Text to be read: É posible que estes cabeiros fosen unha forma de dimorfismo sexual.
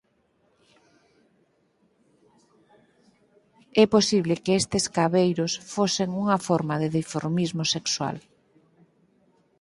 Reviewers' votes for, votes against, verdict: 2, 4, rejected